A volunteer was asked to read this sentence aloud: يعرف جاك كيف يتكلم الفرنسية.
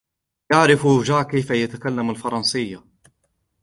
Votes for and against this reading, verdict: 2, 0, accepted